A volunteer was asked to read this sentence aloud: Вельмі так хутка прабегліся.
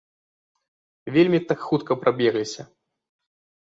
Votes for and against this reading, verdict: 2, 0, accepted